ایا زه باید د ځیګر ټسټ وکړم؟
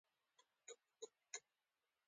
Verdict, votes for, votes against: rejected, 1, 2